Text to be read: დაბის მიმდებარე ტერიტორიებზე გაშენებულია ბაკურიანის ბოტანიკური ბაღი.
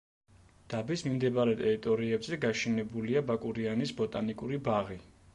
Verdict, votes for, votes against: accepted, 2, 0